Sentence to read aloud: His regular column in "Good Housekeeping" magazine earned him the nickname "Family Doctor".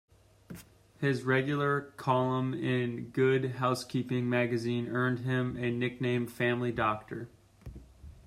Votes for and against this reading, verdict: 2, 1, accepted